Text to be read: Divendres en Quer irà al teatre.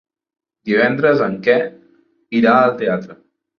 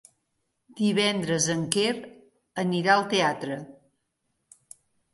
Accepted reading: first